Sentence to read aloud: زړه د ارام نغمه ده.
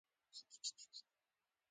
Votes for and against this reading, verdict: 1, 2, rejected